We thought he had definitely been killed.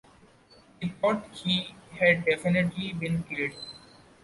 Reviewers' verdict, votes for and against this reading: accepted, 2, 0